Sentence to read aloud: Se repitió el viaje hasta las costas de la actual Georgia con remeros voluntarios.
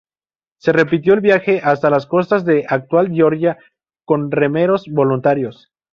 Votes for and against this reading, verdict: 0, 2, rejected